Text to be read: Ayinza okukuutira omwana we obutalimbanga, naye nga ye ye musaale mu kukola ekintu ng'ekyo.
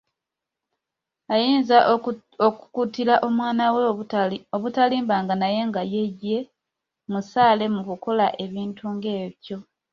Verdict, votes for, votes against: rejected, 1, 2